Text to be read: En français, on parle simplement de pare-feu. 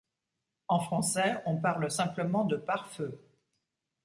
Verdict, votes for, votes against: accepted, 2, 0